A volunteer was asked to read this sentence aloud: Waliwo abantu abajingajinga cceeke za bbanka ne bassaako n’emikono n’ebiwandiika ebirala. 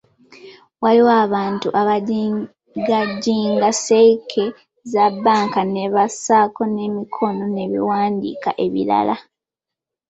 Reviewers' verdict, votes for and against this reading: rejected, 0, 2